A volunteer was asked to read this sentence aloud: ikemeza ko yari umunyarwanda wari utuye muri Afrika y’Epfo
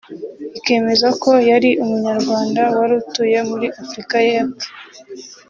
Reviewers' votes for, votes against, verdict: 1, 2, rejected